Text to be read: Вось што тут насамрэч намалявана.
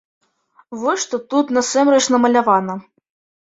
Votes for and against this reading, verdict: 1, 2, rejected